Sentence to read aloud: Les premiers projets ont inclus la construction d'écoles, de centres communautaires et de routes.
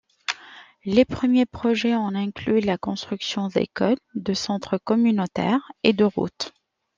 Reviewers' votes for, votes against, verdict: 1, 2, rejected